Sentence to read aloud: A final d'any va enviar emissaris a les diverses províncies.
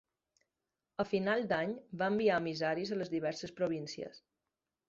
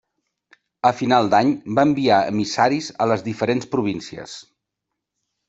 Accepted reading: first